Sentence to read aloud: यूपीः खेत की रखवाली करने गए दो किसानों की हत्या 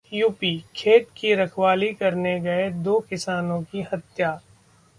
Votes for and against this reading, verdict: 2, 0, accepted